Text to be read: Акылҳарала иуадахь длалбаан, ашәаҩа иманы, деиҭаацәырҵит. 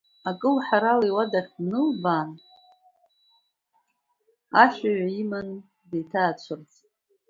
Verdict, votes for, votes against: accepted, 2, 0